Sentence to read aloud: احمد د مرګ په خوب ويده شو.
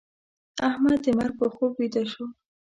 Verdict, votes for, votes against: accepted, 2, 0